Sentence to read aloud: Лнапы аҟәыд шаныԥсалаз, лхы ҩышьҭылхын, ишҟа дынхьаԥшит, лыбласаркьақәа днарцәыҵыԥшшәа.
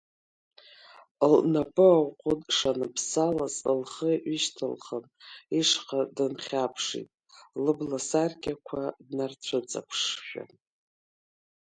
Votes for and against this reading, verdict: 1, 2, rejected